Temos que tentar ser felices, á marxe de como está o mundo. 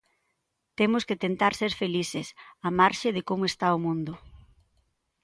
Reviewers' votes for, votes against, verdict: 2, 0, accepted